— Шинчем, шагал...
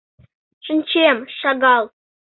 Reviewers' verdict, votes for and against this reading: accepted, 2, 0